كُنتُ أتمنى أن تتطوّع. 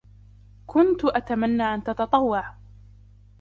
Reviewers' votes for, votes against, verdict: 2, 1, accepted